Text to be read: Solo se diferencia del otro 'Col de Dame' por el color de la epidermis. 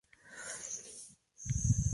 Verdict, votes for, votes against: rejected, 0, 2